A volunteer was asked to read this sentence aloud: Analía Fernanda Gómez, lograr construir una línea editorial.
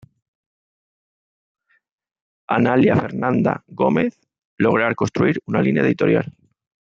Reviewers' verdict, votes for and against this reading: accepted, 2, 1